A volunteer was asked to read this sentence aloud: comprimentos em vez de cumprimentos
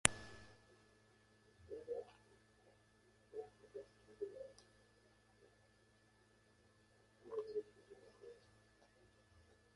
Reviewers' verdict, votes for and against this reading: rejected, 0, 2